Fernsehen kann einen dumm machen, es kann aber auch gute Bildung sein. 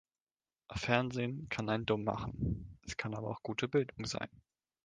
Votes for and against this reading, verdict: 2, 0, accepted